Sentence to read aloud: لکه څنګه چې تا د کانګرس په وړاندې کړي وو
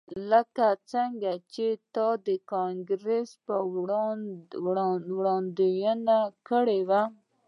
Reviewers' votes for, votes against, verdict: 0, 2, rejected